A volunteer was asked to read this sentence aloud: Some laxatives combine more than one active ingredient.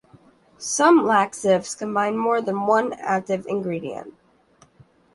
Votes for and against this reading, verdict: 0, 2, rejected